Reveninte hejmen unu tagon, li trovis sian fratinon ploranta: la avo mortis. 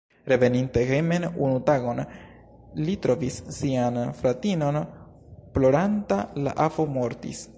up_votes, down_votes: 2, 1